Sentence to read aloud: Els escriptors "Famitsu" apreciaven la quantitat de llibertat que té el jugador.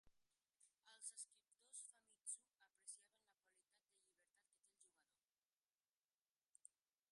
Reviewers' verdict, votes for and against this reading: rejected, 1, 2